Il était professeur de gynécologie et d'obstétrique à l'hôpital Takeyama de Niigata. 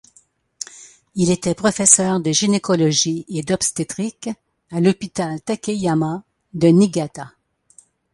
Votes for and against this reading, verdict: 2, 0, accepted